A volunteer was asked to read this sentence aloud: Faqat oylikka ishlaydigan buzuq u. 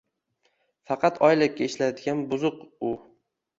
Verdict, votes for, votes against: accepted, 2, 0